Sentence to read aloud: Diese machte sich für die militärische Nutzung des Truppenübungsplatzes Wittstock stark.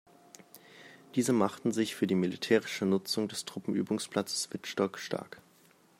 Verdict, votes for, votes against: rejected, 0, 2